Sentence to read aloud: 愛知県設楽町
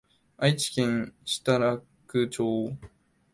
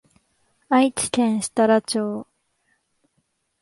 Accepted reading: second